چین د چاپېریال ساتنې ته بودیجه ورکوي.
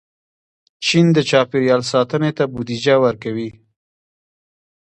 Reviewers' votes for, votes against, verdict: 0, 2, rejected